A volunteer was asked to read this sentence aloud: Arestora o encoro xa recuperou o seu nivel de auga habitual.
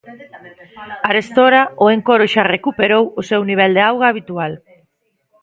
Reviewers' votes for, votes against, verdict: 0, 2, rejected